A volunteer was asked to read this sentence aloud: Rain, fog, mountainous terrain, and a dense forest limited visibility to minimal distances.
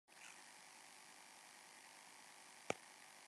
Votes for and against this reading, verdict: 0, 2, rejected